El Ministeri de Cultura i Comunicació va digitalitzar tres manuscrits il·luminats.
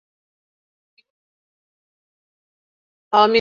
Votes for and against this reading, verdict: 0, 2, rejected